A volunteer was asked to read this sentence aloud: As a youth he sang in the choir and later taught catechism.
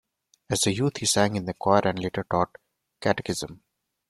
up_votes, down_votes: 1, 2